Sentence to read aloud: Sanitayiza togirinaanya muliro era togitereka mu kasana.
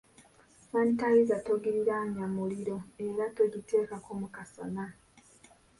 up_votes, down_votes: 0, 2